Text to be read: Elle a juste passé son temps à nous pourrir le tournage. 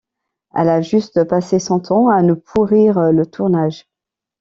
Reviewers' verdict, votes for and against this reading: accepted, 2, 0